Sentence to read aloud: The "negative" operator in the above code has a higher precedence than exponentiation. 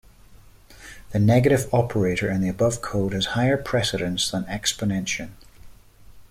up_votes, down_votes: 1, 2